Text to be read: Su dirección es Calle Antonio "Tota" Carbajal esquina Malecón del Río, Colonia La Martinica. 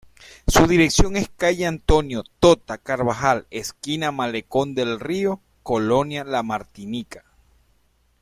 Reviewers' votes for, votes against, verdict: 2, 0, accepted